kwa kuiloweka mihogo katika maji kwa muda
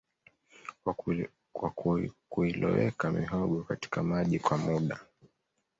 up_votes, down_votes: 2, 0